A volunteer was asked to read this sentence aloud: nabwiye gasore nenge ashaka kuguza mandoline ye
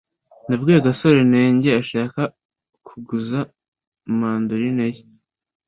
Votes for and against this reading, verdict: 2, 0, accepted